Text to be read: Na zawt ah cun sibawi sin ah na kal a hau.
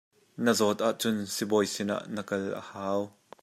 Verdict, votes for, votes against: accepted, 2, 0